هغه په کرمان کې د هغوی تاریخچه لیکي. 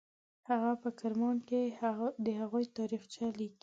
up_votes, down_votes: 2, 0